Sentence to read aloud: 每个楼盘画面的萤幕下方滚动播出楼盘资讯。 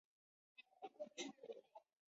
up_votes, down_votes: 0, 2